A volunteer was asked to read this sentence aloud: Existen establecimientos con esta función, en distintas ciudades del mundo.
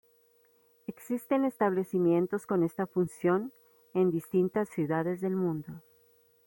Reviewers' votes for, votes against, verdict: 0, 2, rejected